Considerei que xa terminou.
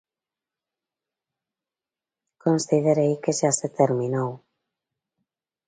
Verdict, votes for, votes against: rejected, 1, 2